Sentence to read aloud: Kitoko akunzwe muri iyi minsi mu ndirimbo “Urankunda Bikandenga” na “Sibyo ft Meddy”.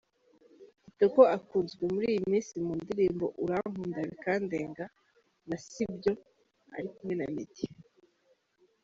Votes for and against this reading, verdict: 1, 2, rejected